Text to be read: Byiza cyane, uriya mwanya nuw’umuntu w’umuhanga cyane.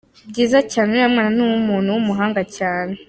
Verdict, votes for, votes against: accepted, 2, 0